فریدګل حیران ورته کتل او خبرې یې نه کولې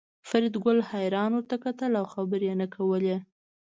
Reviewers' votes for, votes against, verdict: 2, 0, accepted